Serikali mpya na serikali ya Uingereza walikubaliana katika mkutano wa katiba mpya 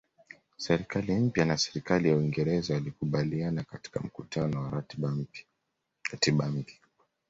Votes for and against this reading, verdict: 1, 2, rejected